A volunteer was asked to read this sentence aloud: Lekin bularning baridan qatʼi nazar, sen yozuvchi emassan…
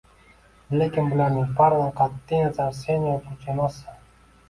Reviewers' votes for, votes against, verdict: 1, 2, rejected